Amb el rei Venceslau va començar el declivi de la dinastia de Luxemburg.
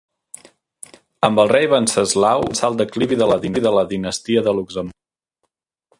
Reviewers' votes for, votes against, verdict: 0, 2, rejected